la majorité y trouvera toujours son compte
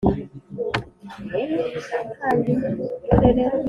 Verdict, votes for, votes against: rejected, 0, 2